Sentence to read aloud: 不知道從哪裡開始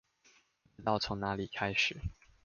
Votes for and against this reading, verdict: 0, 2, rejected